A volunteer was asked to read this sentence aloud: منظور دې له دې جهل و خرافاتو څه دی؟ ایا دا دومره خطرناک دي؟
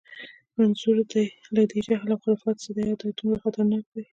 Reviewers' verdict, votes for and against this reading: rejected, 1, 2